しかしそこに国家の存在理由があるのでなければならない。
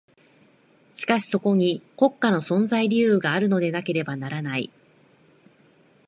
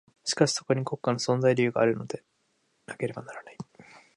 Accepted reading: first